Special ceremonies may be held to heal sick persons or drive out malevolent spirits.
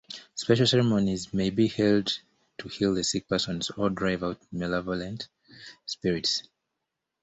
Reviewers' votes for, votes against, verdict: 1, 2, rejected